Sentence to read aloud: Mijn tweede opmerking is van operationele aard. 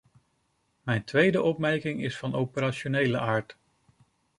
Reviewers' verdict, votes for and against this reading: accepted, 2, 0